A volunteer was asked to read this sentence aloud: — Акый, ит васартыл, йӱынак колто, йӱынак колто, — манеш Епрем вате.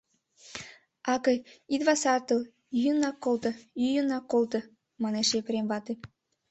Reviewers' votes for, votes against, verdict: 2, 0, accepted